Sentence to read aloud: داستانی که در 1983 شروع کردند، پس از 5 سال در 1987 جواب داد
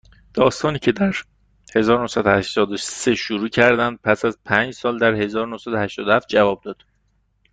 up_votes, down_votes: 0, 2